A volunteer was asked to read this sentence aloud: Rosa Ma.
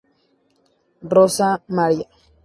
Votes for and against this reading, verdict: 0, 2, rejected